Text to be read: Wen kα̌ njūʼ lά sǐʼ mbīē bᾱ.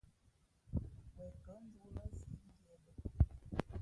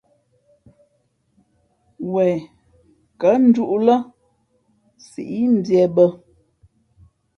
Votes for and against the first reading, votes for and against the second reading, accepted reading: 0, 2, 2, 0, second